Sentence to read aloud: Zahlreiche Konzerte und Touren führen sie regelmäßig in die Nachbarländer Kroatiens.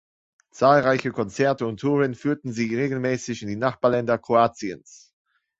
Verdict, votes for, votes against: rejected, 0, 2